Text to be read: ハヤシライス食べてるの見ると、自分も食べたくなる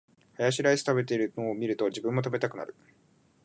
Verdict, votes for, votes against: accepted, 5, 0